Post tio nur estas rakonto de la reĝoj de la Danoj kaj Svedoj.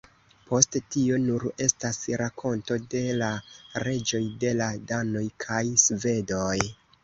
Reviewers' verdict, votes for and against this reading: rejected, 1, 2